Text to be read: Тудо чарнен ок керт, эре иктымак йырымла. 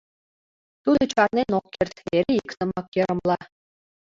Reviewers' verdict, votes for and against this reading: accepted, 2, 1